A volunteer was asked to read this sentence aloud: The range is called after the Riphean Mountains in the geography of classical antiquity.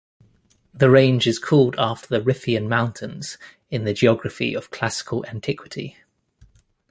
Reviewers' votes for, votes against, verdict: 2, 0, accepted